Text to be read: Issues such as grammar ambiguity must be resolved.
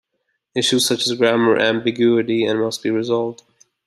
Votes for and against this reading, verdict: 2, 0, accepted